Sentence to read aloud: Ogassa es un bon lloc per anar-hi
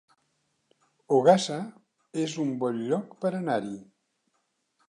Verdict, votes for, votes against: accepted, 3, 0